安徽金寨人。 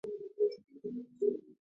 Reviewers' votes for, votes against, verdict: 2, 3, rejected